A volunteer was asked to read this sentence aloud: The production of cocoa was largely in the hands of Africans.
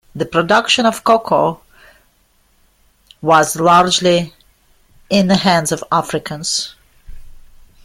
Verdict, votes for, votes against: accepted, 2, 0